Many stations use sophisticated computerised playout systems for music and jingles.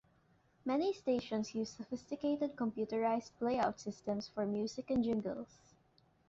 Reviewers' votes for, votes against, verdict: 3, 0, accepted